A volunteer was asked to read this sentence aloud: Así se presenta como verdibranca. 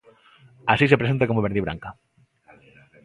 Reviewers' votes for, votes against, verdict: 2, 0, accepted